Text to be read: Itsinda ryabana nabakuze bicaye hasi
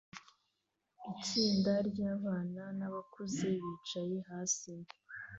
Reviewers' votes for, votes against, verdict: 2, 1, accepted